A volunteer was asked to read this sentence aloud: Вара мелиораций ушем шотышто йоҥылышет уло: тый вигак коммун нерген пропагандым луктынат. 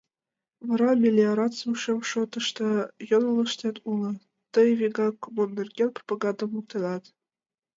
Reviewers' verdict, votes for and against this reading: rejected, 0, 2